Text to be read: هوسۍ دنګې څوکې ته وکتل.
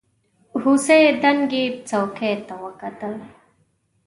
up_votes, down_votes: 0, 2